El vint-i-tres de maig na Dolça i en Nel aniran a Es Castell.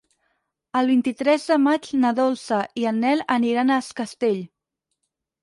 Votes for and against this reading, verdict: 6, 0, accepted